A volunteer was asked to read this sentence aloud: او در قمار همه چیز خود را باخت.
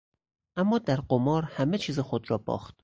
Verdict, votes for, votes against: rejected, 0, 6